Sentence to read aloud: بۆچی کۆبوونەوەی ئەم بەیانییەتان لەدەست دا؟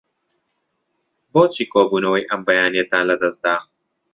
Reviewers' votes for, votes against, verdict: 2, 0, accepted